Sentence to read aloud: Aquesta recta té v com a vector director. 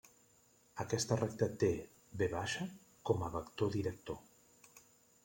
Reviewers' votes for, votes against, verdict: 1, 2, rejected